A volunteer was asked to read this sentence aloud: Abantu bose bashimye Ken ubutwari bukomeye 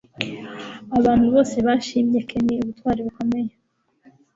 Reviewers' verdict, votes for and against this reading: accepted, 2, 0